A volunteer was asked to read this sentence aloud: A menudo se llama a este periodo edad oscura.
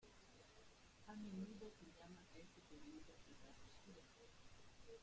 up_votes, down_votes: 0, 2